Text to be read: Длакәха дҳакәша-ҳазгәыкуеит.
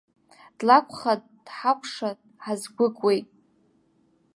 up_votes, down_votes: 2, 1